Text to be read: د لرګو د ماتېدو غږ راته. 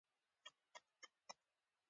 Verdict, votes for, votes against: rejected, 0, 2